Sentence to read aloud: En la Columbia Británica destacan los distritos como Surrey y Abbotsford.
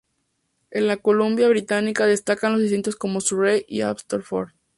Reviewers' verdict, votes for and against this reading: accepted, 2, 0